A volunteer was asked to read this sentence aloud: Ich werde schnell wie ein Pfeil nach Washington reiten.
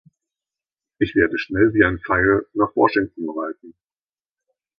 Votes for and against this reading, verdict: 2, 0, accepted